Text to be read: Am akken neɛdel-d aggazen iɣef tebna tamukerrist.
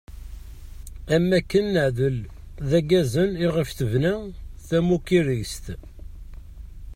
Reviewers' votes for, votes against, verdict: 1, 2, rejected